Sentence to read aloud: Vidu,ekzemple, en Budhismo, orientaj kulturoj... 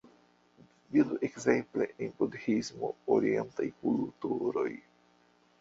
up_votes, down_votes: 0, 2